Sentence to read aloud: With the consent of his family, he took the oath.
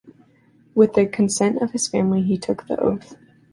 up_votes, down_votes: 2, 0